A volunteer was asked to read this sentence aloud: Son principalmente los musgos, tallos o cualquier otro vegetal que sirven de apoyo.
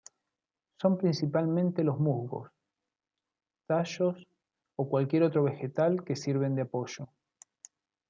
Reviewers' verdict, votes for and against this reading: rejected, 1, 2